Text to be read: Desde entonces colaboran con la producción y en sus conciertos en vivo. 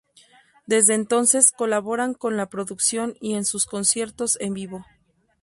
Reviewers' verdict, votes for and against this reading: accepted, 2, 0